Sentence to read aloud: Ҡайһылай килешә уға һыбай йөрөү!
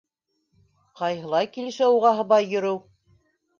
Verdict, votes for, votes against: accepted, 2, 0